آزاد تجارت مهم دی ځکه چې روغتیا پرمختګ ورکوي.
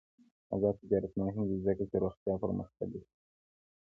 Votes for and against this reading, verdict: 0, 2, rejected